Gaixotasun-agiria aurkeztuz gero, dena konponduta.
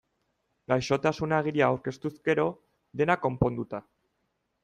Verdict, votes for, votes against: accepted, 2, 0